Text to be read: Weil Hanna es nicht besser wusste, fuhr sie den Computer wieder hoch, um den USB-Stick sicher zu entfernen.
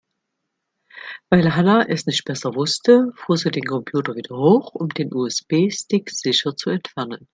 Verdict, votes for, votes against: accepted, 2, 0